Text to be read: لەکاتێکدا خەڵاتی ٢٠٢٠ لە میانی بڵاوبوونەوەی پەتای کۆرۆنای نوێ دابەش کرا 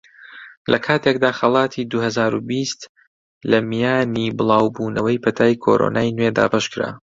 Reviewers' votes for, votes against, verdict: 0, 2, rejected